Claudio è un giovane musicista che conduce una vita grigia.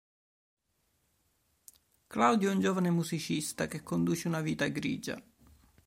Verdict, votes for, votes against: accepted, 2, 0